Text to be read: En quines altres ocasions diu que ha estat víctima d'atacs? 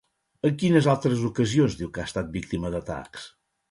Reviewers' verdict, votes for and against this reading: rejected, 0, 2